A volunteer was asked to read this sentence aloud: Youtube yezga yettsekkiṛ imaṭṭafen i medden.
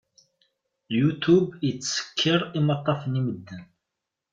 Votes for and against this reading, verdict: 0, 2, rejected